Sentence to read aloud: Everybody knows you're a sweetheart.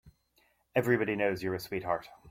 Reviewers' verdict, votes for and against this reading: accepted, 2, 0